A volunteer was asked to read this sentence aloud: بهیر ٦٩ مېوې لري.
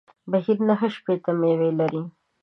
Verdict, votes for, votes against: rejected, 0, 2